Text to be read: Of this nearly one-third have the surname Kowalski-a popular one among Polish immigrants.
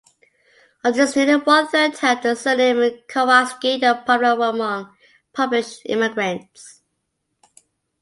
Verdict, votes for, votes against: rejected, 0, 2